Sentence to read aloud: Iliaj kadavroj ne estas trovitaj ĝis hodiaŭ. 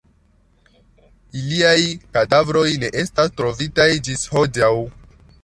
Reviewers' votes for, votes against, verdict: 2, 0, accepted